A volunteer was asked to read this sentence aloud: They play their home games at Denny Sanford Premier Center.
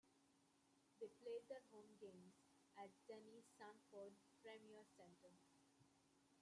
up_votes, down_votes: 1, 2